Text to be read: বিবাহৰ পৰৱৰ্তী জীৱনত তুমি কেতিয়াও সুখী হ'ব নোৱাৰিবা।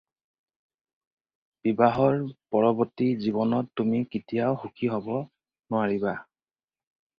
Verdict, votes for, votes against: accepted, 4, 0